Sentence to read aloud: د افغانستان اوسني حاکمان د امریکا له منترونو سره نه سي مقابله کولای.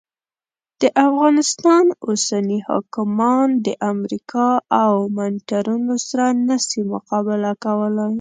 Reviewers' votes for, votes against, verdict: 1, 2, rejected